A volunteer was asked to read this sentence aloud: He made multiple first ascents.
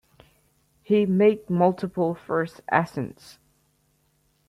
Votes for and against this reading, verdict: 2, 0, accepted